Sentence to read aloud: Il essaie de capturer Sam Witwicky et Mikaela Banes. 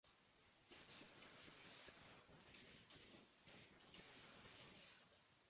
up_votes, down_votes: 0, 2